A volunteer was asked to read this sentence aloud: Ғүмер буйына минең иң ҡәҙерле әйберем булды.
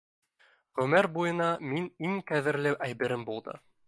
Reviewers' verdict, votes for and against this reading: rejected, 1, 2